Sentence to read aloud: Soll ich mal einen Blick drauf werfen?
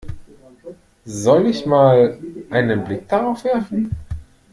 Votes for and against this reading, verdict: 0, 2, rejected